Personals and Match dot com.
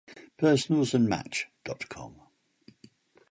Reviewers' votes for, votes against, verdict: 2, 0, accepted